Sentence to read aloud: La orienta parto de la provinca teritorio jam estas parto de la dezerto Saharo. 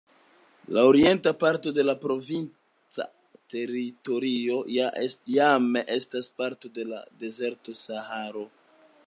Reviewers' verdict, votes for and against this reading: accepted, 2, 0